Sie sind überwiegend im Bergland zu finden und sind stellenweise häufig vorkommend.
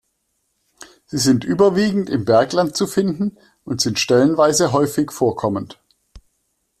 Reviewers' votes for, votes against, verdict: 2, 0, accepted